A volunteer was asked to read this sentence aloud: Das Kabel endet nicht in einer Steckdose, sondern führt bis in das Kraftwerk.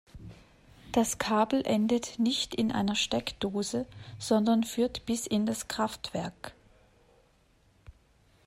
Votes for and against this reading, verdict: 3, 0, accepted